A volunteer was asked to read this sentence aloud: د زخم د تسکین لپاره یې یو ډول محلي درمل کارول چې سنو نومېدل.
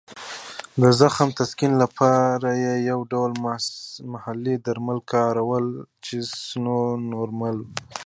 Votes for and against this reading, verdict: 0, 2, rejected